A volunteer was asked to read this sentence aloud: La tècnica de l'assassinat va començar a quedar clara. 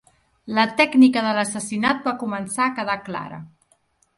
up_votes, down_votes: 3, 0